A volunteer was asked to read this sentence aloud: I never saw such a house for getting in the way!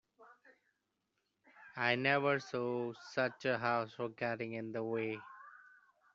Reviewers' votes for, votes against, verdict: 2, 1, accepted